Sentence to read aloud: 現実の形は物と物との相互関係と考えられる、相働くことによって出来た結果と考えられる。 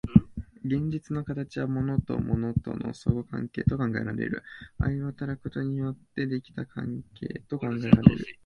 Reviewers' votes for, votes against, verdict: 1, 2, rejected